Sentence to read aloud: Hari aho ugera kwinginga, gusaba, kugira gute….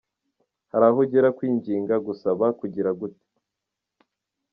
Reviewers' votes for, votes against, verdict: 2, 0, accepted